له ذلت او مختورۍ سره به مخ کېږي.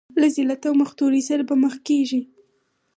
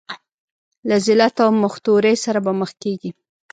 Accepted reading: first